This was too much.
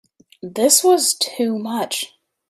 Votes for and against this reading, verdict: 2, 0, accepted